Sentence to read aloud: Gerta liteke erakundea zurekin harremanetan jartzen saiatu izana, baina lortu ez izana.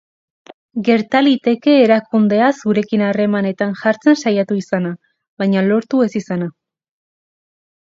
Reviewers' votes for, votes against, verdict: 6, 0, accepted